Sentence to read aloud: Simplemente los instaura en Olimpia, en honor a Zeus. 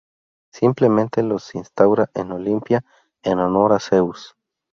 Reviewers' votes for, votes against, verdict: 4, 0, accepted